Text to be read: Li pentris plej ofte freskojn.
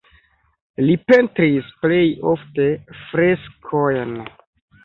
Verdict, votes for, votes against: accepted, 2, 0